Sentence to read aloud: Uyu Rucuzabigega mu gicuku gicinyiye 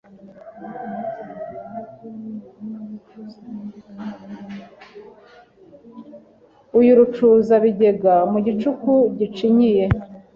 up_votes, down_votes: 2, 0